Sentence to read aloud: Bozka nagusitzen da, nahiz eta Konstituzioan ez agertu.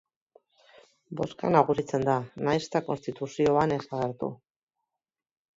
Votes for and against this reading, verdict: 1, 2, rejected